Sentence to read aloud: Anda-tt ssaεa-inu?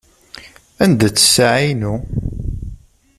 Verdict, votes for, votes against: accepted, 2, 0